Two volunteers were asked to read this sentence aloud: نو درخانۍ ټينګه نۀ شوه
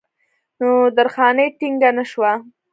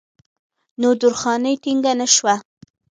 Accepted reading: first